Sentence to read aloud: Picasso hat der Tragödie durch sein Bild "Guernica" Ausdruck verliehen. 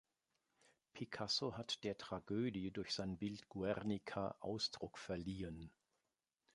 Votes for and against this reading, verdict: 2, 0, accepted